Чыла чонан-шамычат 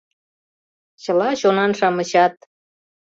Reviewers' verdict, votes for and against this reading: accepted, 2, 0